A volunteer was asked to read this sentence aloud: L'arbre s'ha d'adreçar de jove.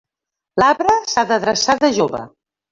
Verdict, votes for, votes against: rejected, 1, 2